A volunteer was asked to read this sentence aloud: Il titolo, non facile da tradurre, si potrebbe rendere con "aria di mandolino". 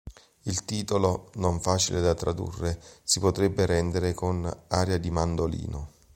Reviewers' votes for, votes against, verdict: 2, 0, accepted